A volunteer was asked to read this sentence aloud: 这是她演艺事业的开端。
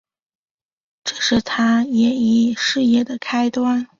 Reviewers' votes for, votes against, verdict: 1, 2, rejected